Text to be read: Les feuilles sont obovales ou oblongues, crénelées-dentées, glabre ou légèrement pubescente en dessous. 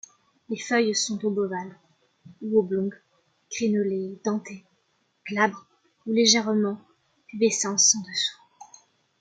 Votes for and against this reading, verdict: 0, 2, rejected